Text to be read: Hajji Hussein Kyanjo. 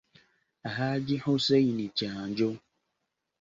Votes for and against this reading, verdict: 2, 0, accepted